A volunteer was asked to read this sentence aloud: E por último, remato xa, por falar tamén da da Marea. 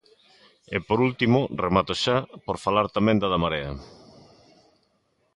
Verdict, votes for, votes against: accepted, 2, 0